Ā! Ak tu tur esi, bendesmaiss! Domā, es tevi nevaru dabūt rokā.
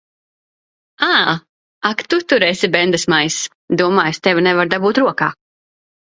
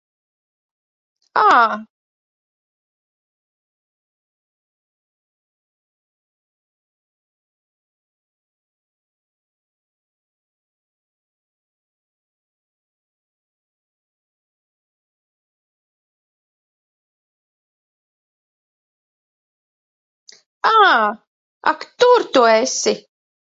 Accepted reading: first